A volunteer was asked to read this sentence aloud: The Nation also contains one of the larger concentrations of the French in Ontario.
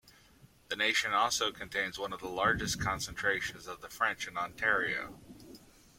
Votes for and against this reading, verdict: 0, 2, rejected